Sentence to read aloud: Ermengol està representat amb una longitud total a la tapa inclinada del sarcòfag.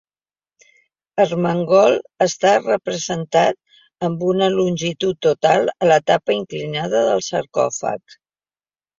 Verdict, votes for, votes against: rejected, 1, 2